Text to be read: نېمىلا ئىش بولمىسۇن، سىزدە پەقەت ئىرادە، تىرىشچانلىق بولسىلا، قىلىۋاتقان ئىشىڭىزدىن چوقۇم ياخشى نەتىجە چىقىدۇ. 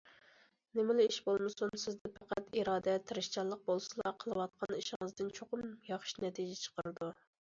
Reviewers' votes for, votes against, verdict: 1, 2, rejected